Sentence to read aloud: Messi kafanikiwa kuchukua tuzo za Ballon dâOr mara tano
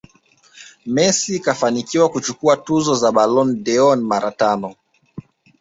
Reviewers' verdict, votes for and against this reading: accepted, 2, 0